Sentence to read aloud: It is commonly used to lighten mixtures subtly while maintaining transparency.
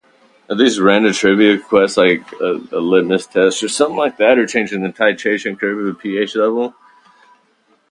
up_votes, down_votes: 0, 2